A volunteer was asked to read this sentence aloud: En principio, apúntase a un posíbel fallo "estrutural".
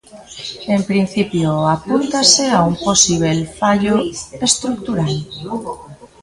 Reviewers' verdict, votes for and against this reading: rejected, 0, 2